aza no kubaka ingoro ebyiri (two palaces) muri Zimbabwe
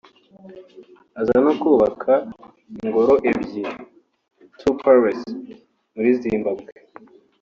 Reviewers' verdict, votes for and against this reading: accepted, 3, 0